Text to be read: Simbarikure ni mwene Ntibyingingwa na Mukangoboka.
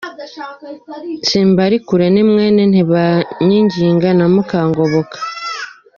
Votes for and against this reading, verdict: 0, 2, rejected